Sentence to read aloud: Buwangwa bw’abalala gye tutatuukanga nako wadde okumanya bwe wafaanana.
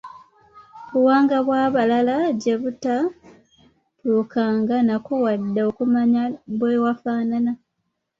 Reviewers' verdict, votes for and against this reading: accepted, 2, 1